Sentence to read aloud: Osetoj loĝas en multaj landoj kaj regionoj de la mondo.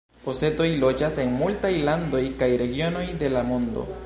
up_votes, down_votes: 0, 2